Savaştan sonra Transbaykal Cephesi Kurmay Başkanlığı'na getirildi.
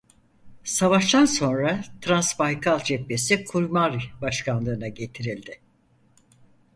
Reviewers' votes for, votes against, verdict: 2, 4, rejected